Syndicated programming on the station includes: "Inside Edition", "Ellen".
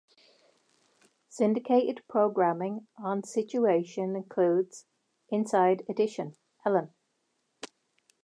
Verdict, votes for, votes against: rejected, 0, 2